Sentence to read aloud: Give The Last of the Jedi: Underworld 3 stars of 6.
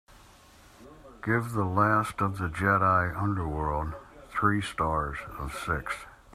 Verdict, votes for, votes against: rejected, 0, 2